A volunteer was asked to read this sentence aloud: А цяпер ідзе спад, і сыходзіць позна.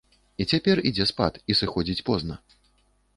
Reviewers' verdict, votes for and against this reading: rejected, 1, 2